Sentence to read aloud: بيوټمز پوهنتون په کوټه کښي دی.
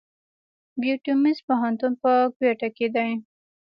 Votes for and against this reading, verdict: 2, 0, accepted